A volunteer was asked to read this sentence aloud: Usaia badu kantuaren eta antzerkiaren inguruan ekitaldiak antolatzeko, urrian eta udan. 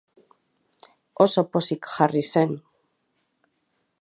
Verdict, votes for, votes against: rejected, 0, 2